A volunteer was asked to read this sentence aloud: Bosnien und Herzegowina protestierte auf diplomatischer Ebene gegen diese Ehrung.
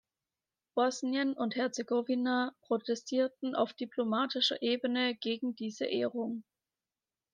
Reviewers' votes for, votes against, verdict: 1, 2, rejected